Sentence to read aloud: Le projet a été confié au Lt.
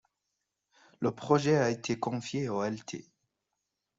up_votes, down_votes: 2, 0